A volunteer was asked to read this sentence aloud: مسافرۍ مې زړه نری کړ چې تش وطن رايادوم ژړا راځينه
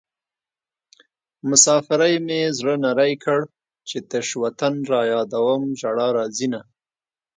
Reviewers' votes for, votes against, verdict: 2, 0, accepted